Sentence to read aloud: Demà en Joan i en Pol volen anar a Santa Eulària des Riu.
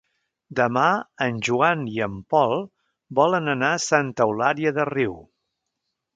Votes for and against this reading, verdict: 0, 3, rejected